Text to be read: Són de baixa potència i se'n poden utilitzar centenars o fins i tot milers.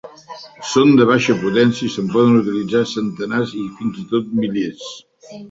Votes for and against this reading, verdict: 0, 2, rejected